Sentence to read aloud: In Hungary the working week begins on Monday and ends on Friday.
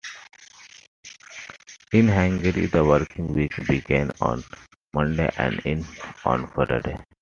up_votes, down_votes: 2, 0